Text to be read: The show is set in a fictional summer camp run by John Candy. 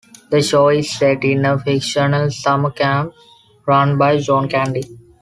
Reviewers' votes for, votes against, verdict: 2, 0, accepted